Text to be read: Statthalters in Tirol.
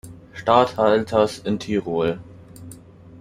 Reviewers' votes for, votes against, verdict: 0, 2, rejected